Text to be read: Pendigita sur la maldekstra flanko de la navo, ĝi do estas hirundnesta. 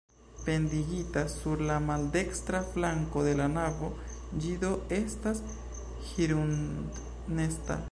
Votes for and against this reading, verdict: 2, 1, accepted